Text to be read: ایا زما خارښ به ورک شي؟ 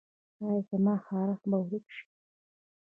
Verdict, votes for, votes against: rejected, 1, 3